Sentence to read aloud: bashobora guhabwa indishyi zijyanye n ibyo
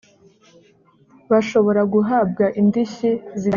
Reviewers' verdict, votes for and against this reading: rejected, 0, 3